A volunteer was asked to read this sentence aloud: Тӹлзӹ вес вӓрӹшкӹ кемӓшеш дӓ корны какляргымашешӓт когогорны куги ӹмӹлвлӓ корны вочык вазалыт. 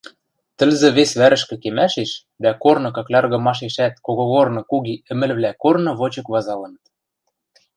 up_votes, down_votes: 1, 2